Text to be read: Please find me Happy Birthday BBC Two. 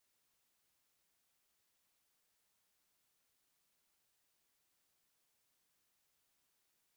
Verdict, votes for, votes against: rejected, 0, 2